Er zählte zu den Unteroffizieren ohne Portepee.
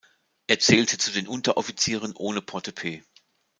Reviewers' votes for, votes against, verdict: 2, 0, accepted